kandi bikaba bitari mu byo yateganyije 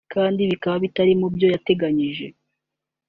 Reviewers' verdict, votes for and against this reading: accepted, 4, 0